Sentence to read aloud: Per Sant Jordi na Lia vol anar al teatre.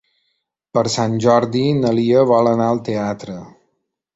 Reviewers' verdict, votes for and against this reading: accepted, 3, 0